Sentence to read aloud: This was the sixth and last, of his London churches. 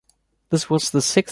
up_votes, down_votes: 0, 2